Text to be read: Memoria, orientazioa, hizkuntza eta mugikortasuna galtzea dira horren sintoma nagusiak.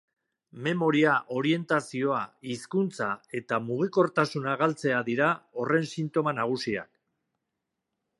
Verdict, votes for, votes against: accepted, 3, 0